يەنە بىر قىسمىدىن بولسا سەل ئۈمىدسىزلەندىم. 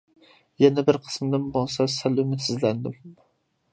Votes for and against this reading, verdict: 2, 0, accepted